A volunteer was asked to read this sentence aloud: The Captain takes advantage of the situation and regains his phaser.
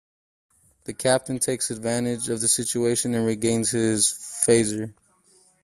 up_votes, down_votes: 2, 1